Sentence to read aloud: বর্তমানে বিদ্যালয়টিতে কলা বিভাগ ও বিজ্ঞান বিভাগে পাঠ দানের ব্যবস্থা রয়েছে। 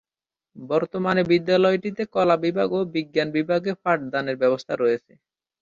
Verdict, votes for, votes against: accepted, 3, 0